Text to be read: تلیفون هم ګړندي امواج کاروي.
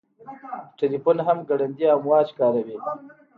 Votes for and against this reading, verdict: 2, 0, accepted